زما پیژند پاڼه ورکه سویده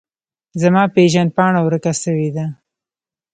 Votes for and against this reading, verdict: 2, 1, accepted